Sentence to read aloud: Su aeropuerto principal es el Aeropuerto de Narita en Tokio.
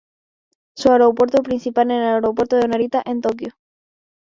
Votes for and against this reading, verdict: 0, 2, rejected